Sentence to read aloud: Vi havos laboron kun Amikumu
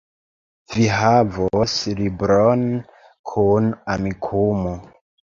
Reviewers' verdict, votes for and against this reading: rejected, 1, 2